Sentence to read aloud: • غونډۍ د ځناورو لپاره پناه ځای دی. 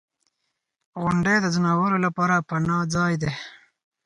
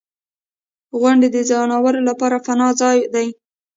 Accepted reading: first